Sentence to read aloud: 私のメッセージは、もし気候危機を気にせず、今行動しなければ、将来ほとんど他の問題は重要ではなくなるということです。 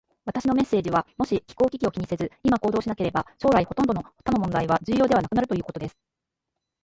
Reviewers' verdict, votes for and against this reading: rejected, 1, 2